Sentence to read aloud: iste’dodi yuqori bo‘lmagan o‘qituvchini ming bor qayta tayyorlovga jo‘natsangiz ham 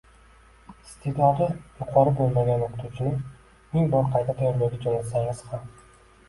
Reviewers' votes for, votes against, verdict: 1, 2, rejected